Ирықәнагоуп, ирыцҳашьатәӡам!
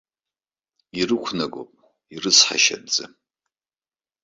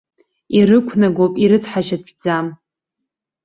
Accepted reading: second